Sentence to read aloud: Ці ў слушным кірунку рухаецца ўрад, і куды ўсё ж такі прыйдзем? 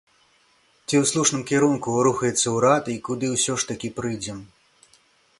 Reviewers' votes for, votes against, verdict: 2, 0, accepted